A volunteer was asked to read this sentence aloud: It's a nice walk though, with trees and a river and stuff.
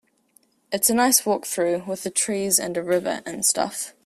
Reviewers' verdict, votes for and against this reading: rejected, 0, 2